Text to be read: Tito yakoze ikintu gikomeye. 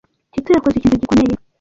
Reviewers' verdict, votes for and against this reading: rejected, 1, 2